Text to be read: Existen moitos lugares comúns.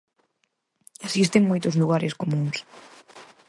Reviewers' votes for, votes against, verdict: 6, 0, accepted